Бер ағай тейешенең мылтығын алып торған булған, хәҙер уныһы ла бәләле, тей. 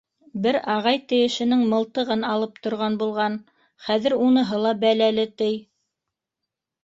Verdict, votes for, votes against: accepted, 2, 0